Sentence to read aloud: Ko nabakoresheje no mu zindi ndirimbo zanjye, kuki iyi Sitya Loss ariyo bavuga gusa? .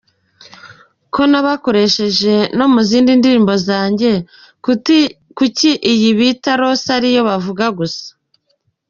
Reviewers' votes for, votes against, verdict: 0, 2, rejected